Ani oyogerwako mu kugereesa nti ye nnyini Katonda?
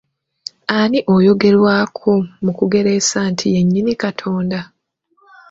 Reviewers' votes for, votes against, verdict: 2, 0, accepted